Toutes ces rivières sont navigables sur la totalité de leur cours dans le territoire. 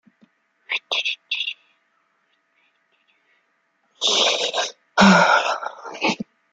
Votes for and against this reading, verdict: 0, 2, rejected